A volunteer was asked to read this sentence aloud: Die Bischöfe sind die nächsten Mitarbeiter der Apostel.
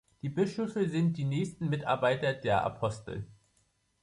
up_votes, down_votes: 2, 0